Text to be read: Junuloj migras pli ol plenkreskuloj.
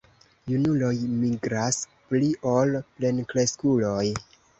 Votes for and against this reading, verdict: 2, 0, accepted